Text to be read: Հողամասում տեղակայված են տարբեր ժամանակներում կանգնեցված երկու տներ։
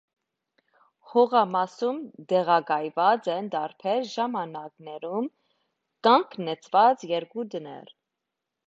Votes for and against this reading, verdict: 2, 1, accepted